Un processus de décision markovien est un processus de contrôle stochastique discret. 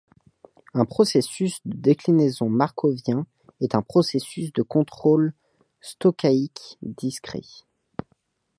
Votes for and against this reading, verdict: 1, 2, rejected